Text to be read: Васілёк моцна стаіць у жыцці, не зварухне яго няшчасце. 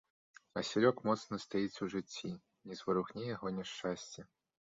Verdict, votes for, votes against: accepted, 2, 1